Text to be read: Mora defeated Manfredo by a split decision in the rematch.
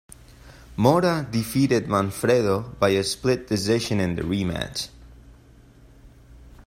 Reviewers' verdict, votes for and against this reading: accepted, 2, 0